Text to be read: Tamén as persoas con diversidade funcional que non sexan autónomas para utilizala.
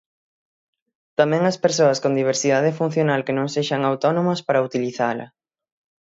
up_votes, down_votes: 6, 0